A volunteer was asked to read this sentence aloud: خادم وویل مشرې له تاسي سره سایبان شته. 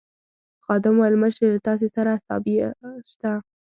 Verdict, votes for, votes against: rejected, 0, 2